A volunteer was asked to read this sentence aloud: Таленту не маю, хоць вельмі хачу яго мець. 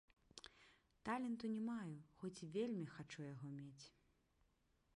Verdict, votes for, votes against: rejected, 0, 2